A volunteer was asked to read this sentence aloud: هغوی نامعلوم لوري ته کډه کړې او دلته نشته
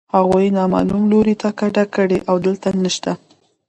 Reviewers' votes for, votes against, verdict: 2, 1, accepted